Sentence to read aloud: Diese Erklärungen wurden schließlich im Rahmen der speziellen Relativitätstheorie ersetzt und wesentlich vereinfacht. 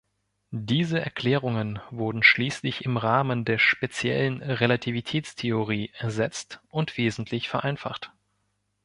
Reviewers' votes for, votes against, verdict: 2, 0, accepted